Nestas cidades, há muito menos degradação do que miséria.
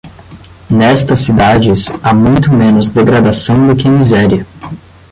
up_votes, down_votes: 5, 5